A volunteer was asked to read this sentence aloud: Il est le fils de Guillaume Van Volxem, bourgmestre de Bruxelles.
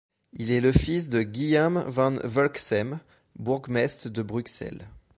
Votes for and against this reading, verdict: 1, 2, rejected